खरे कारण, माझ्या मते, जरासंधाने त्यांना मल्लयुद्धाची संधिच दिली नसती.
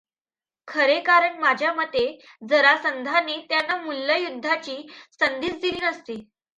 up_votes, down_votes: 1, 2